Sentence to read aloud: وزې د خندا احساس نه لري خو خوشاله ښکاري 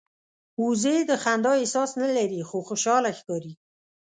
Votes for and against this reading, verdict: 2, 0, accepted